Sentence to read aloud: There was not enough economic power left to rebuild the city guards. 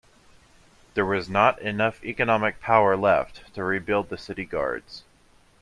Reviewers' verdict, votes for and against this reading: accepted, 2, 0